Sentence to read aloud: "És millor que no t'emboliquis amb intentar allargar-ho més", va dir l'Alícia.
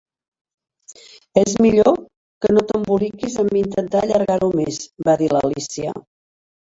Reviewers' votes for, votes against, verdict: 3, 2, accepted